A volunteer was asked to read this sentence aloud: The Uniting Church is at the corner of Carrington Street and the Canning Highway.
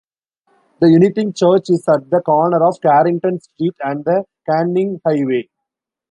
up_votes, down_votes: 2, 3